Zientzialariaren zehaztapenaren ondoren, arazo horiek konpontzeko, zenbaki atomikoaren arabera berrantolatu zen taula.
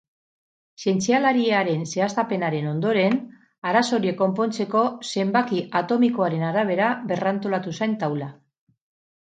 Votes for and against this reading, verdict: 4, 0, accepted